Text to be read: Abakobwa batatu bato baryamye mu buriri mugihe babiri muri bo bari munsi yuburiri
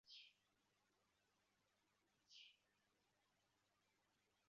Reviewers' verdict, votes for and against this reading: rejected, 0, 2